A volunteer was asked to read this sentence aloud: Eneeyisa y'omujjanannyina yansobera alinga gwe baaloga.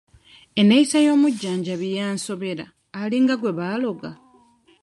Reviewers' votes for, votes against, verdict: 1, 2, rejected